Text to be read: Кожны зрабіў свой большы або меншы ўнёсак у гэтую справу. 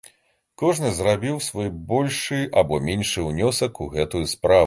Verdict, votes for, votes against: rejected, 1, 2